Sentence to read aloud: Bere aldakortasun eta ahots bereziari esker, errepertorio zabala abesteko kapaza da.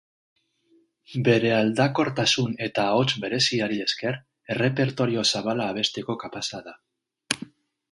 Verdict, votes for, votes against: accepted, 6, 0